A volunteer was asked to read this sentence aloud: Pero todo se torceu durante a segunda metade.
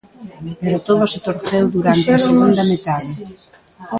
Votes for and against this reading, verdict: 0, 2, rejected